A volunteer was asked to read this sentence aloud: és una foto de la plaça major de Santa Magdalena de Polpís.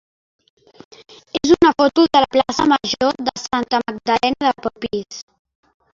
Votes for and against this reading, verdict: 2, 3, rejected